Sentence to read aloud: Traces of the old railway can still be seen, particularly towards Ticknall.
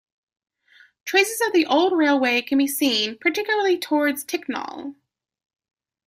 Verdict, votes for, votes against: rejected, 0, 2